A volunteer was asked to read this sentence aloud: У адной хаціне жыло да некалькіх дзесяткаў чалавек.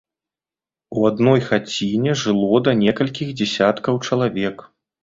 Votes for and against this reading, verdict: 2, 0, accepted